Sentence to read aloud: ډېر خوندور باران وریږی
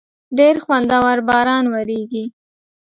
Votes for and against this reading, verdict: 2, 0, accepted